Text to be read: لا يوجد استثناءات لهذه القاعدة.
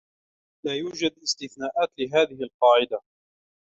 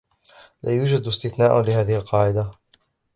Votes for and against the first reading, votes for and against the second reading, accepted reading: 2, 0, 0, 2, first